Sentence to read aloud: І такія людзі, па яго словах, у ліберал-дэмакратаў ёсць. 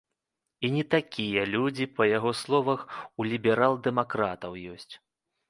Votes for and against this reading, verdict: 0, 2, rejected